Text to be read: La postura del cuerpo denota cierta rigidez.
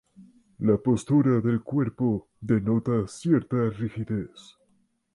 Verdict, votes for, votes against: accepted, 2, 0